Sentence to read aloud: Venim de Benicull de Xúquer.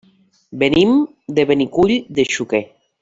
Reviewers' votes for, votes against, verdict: 1, 2, rejected